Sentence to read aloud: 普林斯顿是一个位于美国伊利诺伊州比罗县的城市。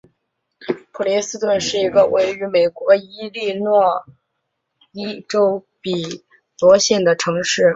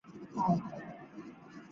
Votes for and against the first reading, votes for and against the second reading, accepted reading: 3, 0, 0, 2, first